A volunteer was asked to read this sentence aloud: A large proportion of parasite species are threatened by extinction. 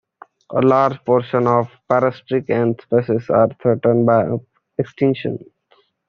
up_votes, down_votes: 0, 2